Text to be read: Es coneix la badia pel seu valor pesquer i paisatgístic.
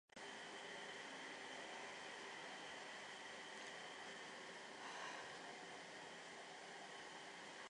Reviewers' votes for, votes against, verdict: 0, 3, rejected